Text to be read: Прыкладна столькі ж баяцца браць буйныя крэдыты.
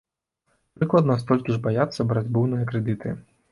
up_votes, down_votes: 2, 1